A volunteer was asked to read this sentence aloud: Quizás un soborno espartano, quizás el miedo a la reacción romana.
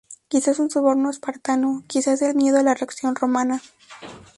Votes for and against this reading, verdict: 2, 0, accepted